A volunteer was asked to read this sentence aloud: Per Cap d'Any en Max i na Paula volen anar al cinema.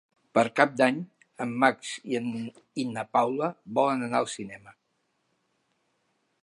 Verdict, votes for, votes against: rejected, 1, 2